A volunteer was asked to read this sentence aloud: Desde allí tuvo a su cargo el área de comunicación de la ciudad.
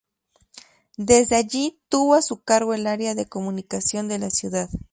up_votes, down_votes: 0, 2